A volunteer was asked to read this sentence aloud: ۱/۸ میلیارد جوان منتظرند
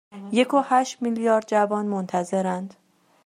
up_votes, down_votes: 0, 2